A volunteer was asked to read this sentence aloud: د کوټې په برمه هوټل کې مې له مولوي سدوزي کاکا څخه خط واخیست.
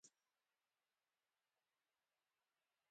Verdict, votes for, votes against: rejected, 1, 2